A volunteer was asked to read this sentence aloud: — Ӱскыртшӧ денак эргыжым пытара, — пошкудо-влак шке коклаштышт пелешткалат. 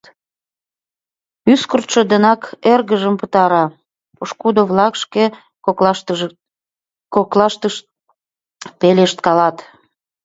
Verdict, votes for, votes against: rejected, 0, 2